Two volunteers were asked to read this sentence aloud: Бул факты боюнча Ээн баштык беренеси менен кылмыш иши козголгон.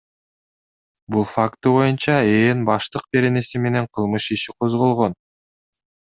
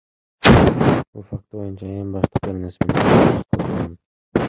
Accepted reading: first